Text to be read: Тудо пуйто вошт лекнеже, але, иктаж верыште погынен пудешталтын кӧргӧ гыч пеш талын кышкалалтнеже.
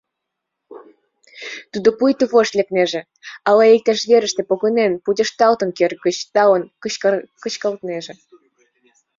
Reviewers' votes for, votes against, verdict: 1, 2, rejected